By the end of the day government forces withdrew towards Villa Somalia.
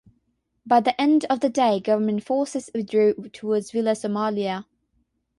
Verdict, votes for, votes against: rejected, 3, 3